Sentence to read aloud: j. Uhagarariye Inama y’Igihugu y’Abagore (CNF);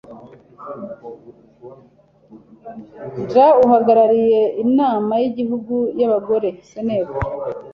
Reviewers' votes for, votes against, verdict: 2, 0, accepted